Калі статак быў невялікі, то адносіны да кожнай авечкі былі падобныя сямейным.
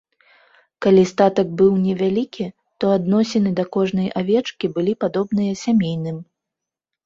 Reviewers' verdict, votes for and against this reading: accepted, 2, 0